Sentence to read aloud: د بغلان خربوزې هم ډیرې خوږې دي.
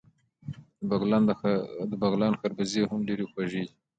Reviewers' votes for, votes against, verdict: 2, 0, accepted